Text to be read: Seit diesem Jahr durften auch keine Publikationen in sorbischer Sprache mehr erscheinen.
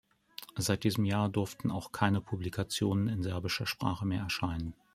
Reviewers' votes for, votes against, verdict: 1, 2, rejected